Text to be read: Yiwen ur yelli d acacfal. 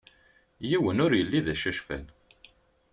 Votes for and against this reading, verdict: 2, 0, accepted